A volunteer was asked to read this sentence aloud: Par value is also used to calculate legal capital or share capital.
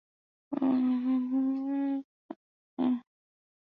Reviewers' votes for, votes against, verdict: 0, 2, rejected